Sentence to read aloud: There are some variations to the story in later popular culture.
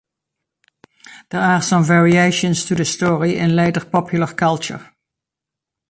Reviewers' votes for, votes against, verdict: 2, 1, accepted